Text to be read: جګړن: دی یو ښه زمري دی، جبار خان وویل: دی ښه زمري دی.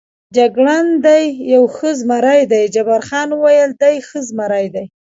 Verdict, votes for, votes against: accepted, 2, 0